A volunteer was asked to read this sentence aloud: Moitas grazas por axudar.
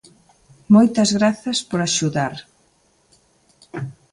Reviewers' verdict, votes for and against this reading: accepted, 2, 0